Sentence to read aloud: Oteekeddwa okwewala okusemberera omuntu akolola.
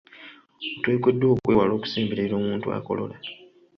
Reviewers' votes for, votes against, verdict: 2, 0, accepted